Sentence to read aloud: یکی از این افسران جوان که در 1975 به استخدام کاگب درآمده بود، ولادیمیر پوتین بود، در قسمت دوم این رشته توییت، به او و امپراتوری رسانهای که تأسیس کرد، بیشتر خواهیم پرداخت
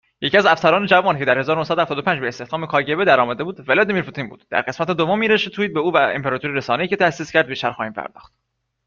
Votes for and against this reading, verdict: 0, 2, rejected